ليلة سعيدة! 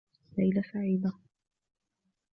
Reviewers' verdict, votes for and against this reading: rejected, 1, 2